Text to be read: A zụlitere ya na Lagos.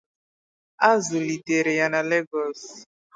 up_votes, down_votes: 4, 2